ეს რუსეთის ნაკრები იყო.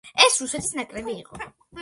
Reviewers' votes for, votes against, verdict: 2, 0, accepted